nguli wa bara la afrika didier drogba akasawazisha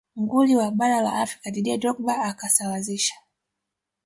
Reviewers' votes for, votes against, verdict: 2, 1, accepted